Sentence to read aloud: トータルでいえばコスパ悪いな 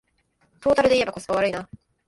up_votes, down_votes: 2, 1